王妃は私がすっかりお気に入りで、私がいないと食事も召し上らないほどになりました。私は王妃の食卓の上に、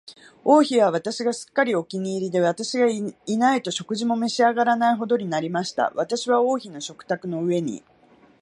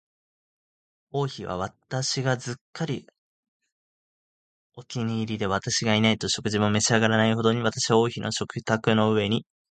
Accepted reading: first